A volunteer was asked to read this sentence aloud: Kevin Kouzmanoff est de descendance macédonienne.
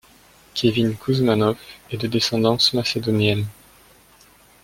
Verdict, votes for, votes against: accepted, 2, 0